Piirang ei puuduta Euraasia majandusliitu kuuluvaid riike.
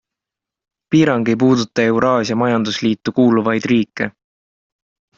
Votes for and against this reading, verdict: 2, 0, accepted